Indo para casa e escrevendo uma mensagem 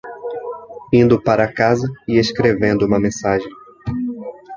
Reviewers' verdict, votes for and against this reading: rejected, 1, 2